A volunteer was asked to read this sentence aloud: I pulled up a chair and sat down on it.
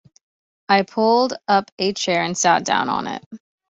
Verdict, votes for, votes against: accepted, 2, 1